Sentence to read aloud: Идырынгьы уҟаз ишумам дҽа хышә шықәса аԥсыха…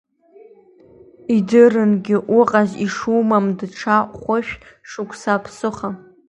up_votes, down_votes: 1, 2